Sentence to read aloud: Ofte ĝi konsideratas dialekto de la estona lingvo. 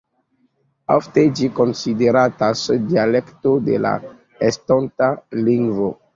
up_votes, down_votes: 0, 2